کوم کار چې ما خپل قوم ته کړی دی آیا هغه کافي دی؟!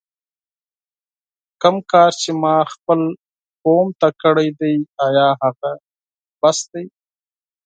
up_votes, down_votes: 2, 4